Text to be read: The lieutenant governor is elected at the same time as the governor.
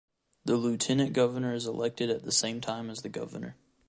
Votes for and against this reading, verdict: 2, 0, accepted